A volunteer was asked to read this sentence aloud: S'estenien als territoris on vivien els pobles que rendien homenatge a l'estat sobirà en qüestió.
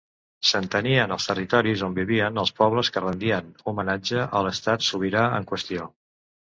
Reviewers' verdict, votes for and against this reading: rejected, 1, 2